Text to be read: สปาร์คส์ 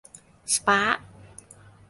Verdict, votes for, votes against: accepted, 2, 0